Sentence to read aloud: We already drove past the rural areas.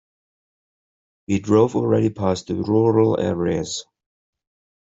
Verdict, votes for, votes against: rejected, 0, 2